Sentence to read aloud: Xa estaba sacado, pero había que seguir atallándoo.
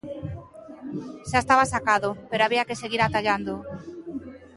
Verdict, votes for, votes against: rejected, 0, 2